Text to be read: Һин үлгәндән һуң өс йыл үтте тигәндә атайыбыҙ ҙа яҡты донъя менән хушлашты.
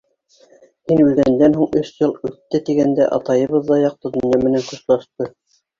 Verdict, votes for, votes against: rejected, 0, 2